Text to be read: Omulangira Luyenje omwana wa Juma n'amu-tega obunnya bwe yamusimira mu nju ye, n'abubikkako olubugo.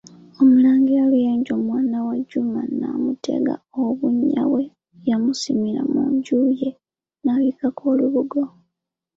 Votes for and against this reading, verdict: 2, 1, accepted